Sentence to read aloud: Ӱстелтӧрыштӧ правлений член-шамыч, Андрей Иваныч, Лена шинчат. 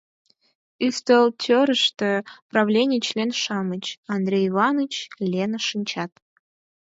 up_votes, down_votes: 4, 0